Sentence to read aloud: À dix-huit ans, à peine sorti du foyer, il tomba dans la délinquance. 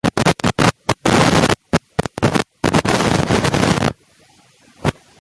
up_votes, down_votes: 0, 3